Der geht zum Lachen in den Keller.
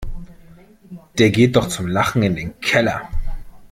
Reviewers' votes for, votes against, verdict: 0, 2, rejected